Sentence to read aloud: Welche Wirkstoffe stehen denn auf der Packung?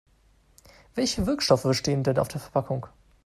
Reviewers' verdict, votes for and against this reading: rejected, 2, 3